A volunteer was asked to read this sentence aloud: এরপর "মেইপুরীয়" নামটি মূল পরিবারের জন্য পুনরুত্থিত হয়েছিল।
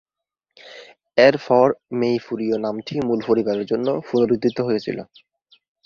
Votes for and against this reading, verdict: 3, 0, accepted